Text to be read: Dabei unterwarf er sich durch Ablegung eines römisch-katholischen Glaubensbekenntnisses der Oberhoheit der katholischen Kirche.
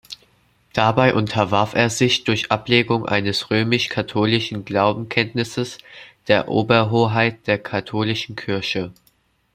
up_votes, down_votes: 0, 2